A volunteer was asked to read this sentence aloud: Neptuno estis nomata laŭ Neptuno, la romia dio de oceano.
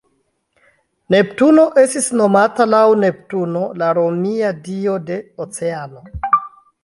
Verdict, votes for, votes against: accepted, 2, 0